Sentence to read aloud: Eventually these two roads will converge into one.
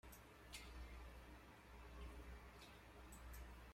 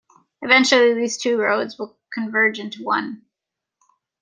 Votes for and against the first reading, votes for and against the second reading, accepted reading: 0, 2, 2, 0, second